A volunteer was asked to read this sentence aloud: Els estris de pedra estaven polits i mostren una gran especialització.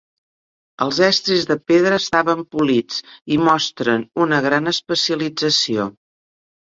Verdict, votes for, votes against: accepted, 5, 0